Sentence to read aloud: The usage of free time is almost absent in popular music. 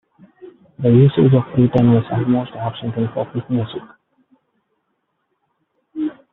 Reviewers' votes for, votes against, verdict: 1, 2, rejected